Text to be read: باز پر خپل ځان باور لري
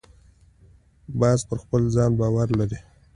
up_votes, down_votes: 2, 0